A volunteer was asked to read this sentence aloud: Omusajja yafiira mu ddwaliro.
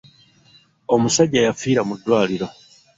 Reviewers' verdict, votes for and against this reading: accepted, 2, 0